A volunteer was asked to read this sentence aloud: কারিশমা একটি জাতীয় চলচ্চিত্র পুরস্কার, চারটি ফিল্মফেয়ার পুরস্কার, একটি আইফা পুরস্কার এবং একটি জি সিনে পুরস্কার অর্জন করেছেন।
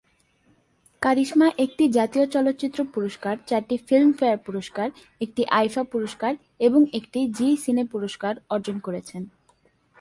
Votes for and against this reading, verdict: 2, 0, accepted